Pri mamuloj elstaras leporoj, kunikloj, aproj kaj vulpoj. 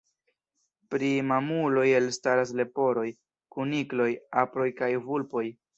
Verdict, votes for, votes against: rejected, 0, 2